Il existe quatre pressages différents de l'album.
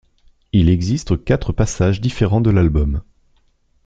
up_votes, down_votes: 1, 2